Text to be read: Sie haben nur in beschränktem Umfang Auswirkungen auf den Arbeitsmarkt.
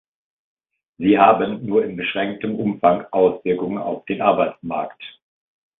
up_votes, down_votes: 2, 0